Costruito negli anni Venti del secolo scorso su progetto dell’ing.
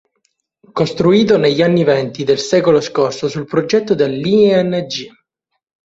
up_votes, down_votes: 1, 2